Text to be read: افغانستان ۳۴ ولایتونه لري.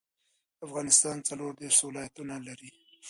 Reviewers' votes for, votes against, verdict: 0, 2, rejected